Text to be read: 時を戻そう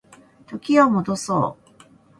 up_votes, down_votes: 12, 2